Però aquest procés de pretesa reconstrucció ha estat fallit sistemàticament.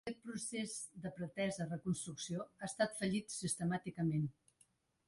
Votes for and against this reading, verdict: 1, 2, rejected